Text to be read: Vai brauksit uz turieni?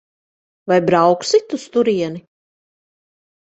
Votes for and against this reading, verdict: 1, 2, rejected